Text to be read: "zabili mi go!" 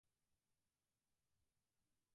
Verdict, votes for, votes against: rejected, 0, 4